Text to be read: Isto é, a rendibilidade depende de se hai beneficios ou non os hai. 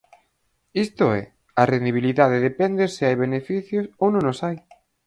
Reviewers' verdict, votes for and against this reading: rejected, 0, 4